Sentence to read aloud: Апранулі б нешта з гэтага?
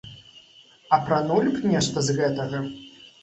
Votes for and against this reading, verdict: 2, 0, accepted